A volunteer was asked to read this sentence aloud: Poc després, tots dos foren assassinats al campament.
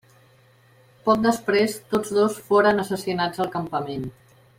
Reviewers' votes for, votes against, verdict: 3, 0, accepted